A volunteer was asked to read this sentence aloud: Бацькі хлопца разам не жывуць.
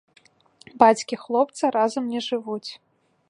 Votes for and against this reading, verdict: 0, 2, rejected